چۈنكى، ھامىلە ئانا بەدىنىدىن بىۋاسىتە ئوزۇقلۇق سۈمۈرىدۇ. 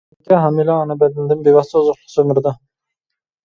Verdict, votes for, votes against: rejected, 0, 2